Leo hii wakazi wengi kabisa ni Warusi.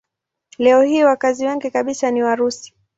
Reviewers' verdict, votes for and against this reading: accepted, 2, 0